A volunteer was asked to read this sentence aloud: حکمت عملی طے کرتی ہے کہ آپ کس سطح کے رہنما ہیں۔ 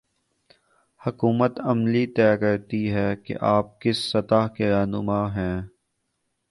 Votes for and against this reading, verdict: 2, 4, rejected